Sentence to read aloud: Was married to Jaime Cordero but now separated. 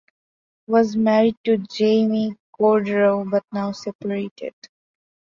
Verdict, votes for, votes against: accepted, 2, 0